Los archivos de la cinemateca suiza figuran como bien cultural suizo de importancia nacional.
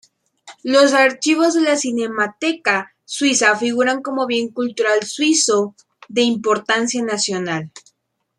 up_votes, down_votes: 2, 0